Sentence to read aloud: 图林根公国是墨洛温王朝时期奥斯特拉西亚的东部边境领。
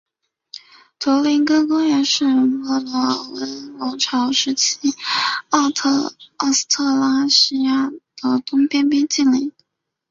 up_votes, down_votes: 0, 3